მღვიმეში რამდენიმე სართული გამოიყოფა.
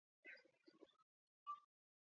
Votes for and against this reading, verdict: 2, 4, rejected